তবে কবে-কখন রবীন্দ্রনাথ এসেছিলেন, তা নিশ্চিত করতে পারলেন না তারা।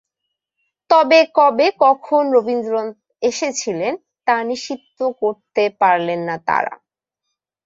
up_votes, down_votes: 0, 2